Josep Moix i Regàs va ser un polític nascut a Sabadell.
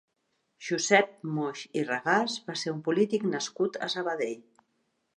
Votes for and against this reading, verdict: 4, 0, accepted